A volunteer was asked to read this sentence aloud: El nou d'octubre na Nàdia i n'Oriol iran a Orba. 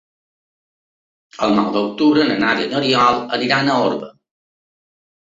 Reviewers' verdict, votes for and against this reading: accepted, 3, 0